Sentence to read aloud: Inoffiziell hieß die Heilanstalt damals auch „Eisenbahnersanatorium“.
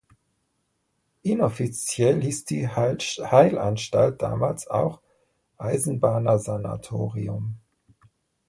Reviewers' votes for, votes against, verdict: 0, 2, rejected